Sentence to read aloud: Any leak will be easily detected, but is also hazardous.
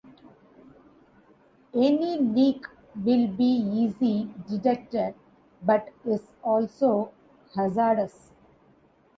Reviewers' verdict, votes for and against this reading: rejected, 0, 2